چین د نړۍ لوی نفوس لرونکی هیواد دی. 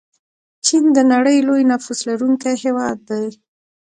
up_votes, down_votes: 2, 1